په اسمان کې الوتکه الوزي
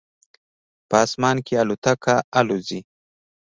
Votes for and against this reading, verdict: 2, 0, accepted